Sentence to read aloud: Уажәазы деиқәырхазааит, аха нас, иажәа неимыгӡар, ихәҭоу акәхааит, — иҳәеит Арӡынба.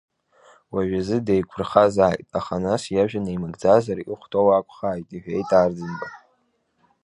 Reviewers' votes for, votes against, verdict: 1, 2, rejected